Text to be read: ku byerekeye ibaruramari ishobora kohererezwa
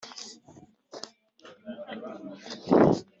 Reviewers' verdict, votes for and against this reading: rejected, 0, 2